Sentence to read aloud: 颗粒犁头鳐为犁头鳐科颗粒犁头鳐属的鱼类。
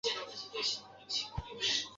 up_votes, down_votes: 0, 3